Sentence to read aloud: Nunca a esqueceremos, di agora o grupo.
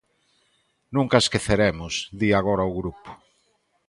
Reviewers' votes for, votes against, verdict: 2, 0, accepted